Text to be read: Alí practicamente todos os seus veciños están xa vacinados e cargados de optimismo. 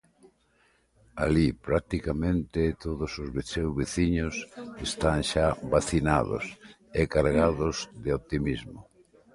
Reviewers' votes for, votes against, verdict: 1, 2, rejected